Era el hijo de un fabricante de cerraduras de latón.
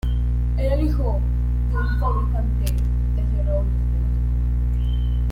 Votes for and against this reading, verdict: 1, 3, rejected